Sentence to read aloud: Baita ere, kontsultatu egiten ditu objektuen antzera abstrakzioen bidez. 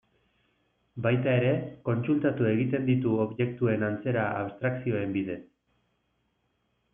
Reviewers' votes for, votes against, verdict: 2, 0, accepted